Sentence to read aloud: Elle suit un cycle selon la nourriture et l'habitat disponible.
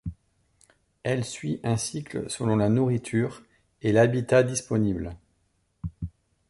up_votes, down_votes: 2, 0